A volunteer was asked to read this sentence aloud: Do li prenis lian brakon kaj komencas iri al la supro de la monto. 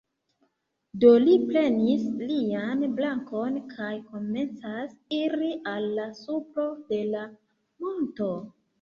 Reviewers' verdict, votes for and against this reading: accepted, 2, 1